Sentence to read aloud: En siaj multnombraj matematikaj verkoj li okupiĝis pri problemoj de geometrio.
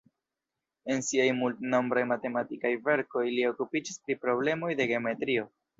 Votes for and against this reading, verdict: 1, 2, rejected